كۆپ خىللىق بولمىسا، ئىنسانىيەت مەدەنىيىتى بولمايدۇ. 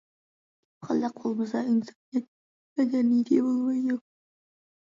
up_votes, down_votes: 0, 2